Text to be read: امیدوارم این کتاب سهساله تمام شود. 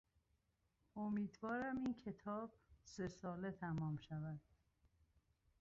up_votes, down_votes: 1, 2